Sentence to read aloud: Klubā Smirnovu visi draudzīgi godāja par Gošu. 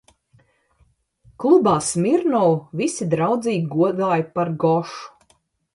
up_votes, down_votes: 2, 0